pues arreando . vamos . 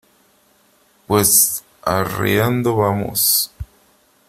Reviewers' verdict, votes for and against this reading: rejected, 1, 2